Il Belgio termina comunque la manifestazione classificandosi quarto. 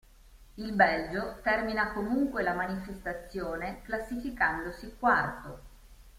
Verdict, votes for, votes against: accepted, 2, 0